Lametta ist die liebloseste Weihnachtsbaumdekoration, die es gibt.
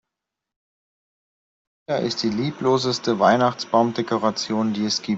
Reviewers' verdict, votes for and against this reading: rejected, 0, 2